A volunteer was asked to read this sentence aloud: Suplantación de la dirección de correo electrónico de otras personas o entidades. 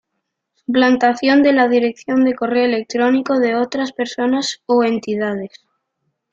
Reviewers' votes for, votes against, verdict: 1, 2, rejected